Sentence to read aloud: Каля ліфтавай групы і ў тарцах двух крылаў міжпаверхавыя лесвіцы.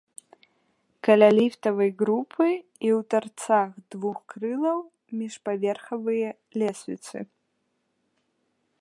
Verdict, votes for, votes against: rejected, 1, 3